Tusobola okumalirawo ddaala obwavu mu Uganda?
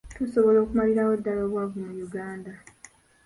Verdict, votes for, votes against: rejected, 1, 2